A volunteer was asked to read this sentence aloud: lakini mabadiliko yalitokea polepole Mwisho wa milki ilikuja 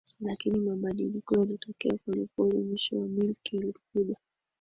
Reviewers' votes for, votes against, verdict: 1, 2, rejected